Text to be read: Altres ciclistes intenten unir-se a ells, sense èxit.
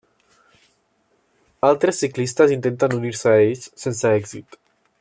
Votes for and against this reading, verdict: 3, 0, accepted